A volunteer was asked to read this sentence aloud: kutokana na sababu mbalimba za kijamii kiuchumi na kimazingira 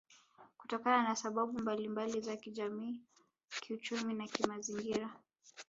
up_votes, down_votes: 1, 2